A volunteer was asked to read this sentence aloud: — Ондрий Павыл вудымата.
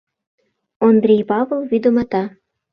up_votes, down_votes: 0, 2